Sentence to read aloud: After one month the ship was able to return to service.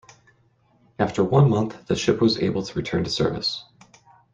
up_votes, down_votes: 2, 0